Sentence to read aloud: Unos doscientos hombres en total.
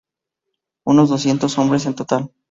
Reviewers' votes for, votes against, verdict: 2, 0, accepted